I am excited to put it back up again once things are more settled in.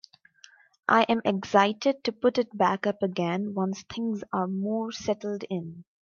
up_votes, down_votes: 2, 0